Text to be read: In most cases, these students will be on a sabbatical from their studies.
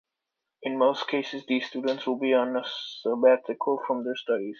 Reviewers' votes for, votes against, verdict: 0, 2, rejected